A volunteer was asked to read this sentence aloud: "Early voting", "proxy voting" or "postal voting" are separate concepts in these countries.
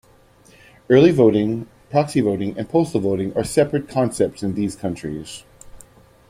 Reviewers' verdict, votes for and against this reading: rejected, 1, 2